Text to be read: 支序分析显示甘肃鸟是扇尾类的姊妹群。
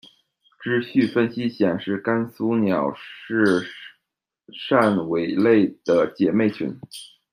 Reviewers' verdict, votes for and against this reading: rejected, 1, 2